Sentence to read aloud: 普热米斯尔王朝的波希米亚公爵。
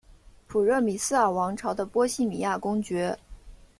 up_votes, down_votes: 2, 0